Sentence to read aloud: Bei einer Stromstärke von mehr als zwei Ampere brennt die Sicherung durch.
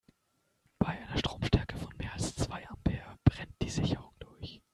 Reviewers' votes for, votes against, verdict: 2, 0, accepted